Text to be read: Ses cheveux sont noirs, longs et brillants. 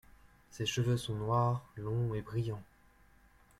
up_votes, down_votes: 2, 0